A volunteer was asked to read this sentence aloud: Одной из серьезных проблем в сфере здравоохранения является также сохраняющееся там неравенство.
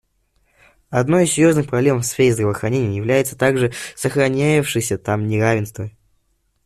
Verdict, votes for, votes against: rejected, 1, 2